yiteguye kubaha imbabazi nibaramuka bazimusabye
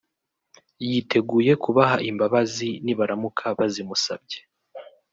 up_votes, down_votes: 2, 1